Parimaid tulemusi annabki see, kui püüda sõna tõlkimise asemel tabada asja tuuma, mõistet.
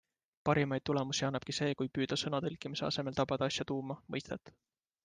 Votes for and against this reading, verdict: 2, 0, accepted